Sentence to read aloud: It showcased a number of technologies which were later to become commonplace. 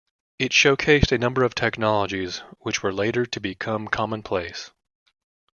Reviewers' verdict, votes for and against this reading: accepted, 2, 0